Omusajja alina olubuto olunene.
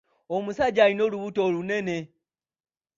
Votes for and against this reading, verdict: 3, 0, accepted